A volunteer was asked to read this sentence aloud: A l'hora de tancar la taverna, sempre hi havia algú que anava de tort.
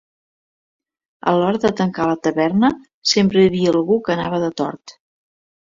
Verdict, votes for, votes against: accepted, 3, 0